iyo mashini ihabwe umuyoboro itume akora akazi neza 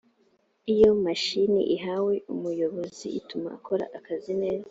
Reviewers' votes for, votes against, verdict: 2, 0, accepted